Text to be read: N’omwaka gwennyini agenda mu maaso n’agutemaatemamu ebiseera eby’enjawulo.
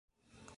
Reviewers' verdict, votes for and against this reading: rejected, 0, 2